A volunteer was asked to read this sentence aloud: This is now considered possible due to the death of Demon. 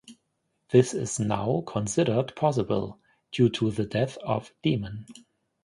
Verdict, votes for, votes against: accepted, 2, 0